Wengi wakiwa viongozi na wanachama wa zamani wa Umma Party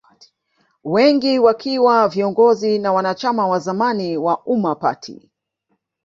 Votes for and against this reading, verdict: 0, 2, rejected